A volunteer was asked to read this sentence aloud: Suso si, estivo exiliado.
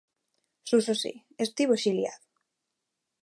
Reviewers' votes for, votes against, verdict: 2, 0, accepted